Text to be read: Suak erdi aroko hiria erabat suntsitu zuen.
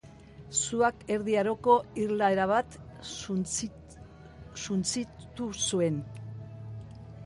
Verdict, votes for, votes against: rejected, 0, 2